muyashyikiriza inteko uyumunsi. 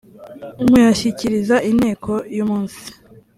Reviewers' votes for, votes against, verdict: 3, 0, accepted